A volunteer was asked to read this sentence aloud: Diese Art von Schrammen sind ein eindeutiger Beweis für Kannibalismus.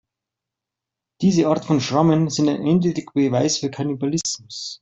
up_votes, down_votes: 2, 1